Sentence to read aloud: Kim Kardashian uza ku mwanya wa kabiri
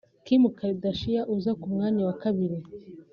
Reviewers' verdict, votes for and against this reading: accepted, 2, 0